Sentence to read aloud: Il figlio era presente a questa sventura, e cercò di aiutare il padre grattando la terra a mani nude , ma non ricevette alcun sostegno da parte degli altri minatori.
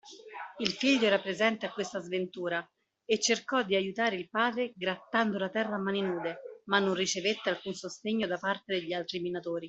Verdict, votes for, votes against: accepted, 2, 0